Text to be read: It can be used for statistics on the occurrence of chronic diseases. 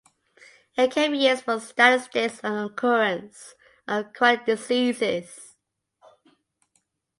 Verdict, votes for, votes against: rejected, 0, 2